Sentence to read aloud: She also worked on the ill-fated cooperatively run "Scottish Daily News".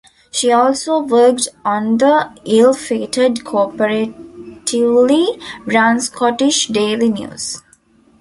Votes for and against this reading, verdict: 0, 2, rejected